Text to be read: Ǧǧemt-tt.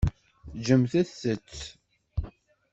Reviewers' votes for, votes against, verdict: 1, 2, rejected